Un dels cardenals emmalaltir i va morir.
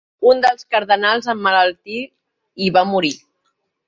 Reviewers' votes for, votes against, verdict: 2, 0, accepted